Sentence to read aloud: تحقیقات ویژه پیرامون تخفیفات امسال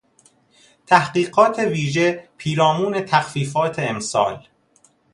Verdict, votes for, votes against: accepted, 2, 0